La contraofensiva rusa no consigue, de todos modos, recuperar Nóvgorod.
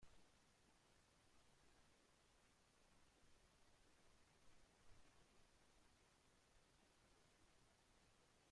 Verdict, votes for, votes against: rejected, 0, 2